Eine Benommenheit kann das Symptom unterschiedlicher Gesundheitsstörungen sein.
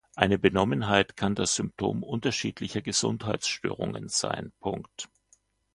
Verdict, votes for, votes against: rejected, 1, 2